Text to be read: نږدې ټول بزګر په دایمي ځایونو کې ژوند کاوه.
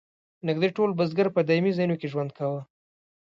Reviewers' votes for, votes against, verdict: 2, 0, accepted